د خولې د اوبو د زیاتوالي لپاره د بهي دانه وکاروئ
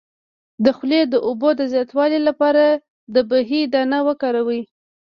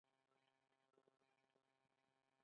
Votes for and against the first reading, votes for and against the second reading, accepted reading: 1, 2, 2, 1, second